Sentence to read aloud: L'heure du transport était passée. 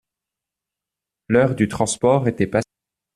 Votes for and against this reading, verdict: 0, 2, rejected